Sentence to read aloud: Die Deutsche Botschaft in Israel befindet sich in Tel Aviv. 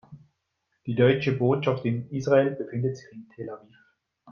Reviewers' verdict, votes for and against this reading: rejected, 0, 2